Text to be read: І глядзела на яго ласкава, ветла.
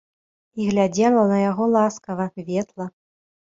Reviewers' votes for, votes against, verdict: 1, 2, rejected